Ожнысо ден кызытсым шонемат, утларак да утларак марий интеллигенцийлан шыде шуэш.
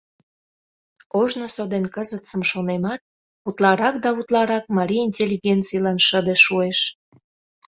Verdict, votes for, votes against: accepted, 2, 0